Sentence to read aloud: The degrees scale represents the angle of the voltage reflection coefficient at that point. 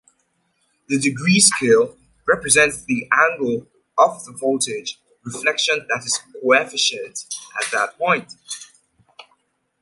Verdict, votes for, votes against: rejected, 1, 2